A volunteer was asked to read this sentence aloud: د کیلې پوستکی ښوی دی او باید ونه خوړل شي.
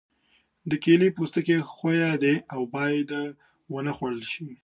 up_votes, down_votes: 2, 0